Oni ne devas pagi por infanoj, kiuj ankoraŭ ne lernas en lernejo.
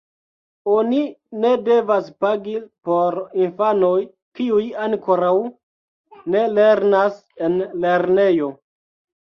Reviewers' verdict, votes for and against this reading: accepted, 3, 2